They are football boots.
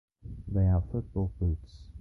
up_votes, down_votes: 0, 2